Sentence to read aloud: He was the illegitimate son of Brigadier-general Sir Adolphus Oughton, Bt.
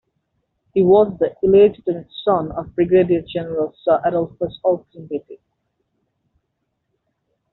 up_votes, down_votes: 1, 2